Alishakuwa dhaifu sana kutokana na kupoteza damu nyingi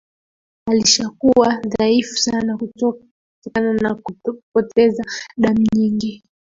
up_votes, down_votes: 1, 2